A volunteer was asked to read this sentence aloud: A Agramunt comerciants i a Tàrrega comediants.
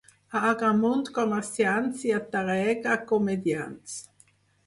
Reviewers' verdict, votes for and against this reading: accepted, 4, 0